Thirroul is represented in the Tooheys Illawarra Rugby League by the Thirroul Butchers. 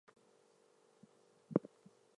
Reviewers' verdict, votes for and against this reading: rejected, 0, 2